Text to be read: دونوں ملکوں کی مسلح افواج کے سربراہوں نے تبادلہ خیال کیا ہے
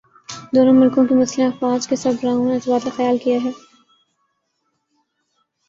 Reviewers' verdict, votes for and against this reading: rejected, 4, 5